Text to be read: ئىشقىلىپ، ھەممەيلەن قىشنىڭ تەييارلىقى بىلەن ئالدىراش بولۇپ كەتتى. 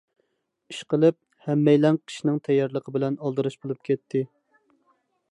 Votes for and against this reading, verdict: 2, 0, accepted